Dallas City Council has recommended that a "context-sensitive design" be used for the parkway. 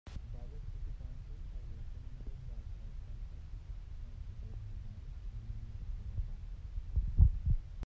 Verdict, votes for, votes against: rejected, 0, 2